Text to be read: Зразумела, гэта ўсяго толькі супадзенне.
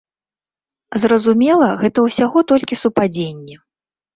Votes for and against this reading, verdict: 2, 0, accepted